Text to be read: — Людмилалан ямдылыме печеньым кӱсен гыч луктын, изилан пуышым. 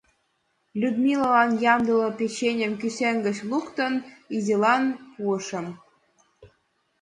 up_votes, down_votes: 0, 2